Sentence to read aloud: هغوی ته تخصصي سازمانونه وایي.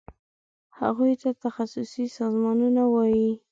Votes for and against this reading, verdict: 2, 0, accepted